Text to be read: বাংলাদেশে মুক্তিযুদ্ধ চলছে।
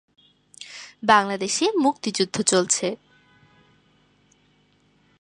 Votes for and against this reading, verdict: 2, 0, accepted